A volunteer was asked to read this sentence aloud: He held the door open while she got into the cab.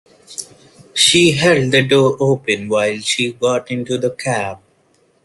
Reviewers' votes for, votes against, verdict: 0, 2, rejected